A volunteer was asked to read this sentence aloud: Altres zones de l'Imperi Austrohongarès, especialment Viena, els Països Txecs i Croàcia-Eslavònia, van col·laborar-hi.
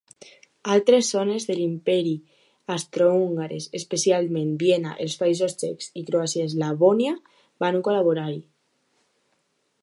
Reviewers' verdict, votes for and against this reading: accepted, 2, 0